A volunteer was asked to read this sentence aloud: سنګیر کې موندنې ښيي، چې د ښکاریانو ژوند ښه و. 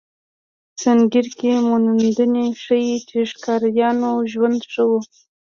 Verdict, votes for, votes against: accepted, 2, 0